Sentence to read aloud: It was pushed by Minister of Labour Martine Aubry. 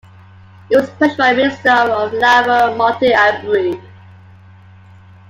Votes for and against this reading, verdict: 2, 1, accepted